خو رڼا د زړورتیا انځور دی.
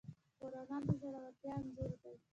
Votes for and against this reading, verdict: 0, 2, rejected